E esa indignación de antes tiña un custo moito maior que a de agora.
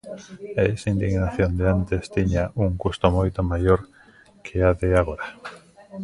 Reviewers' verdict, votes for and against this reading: rejected, 1, 2